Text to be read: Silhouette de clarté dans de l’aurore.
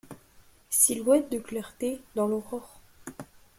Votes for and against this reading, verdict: 2, 1, accepted